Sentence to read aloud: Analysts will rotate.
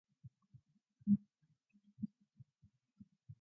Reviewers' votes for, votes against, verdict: 0, 2, rejected